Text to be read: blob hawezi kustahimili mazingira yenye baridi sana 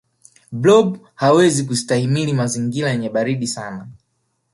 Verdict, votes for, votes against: rejected, 1, 2